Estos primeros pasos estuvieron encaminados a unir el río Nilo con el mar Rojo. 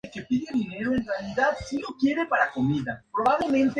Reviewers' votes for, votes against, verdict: 0, 2, rejected